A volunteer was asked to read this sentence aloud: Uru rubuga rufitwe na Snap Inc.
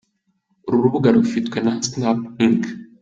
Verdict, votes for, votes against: accepted, 2, 1